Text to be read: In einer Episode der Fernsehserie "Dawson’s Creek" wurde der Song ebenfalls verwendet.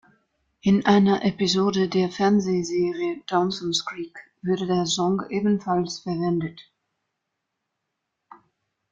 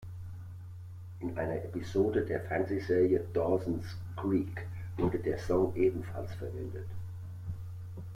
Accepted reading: second